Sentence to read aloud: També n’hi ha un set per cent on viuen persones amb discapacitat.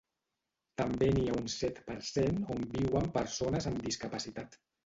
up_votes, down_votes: 1, 2